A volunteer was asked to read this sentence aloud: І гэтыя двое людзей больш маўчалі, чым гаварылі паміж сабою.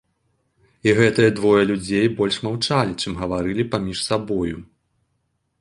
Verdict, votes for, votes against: accepted, 2, 0